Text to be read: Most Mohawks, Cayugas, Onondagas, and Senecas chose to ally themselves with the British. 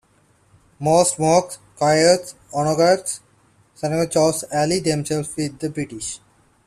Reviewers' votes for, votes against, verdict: 1, 2, rejected